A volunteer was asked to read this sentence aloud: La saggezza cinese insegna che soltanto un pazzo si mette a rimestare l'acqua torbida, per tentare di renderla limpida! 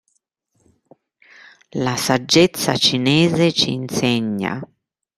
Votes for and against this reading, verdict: 0, 2, rejected